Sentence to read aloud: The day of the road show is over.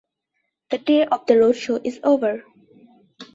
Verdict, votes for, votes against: accepted, 2, 1